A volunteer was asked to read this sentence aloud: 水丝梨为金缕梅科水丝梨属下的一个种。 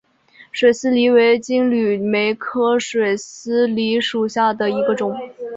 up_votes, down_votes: 2, 0